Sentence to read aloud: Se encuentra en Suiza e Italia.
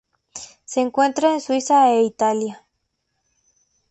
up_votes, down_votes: 2, 0